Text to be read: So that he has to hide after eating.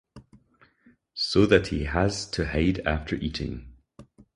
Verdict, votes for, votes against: accepted, 4, 0